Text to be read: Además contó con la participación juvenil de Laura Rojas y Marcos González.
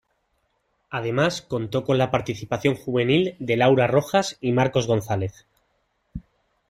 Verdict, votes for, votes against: accepted, 2, 0